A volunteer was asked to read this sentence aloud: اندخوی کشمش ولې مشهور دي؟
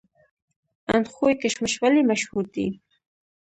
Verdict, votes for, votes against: accepted, 2, 1